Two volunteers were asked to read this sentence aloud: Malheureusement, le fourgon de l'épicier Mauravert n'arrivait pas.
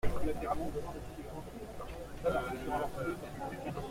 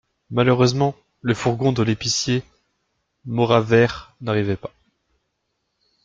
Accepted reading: second